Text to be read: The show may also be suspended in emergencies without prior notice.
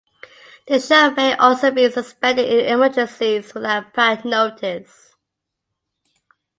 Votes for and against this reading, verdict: 1, 2, rejected